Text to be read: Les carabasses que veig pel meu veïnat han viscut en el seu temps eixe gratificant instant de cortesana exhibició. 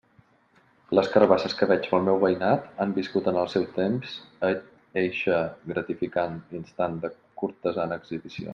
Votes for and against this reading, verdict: 0, 2, rejected